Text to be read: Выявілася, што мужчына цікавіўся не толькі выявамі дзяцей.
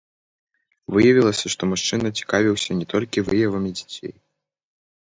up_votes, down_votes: 0, 2